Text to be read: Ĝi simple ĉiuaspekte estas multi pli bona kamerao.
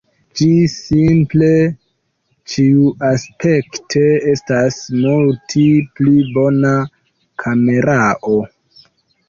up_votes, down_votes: 0, 2